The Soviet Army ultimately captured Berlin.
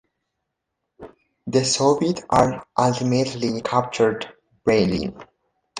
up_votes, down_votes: 2, 3